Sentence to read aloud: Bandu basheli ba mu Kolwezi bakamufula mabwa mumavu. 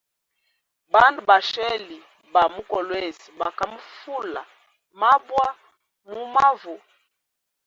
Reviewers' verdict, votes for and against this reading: accepted, 2, 0